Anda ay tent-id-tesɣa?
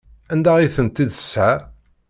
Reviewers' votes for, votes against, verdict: 0, 2, rejected